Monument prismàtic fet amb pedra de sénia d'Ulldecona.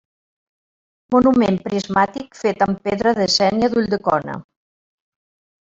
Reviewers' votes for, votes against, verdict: 2, 0, accepted